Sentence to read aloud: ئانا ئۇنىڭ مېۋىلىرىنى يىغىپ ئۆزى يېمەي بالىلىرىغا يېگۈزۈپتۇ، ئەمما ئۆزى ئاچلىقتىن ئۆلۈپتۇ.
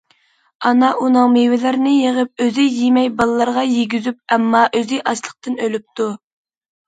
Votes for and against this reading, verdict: 0, 2, rejected